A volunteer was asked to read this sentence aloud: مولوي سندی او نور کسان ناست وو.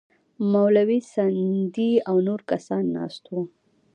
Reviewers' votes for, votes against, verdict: 0, 2, rejected